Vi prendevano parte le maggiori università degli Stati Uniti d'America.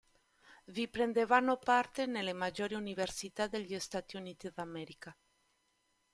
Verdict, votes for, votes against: rejected, 1, 2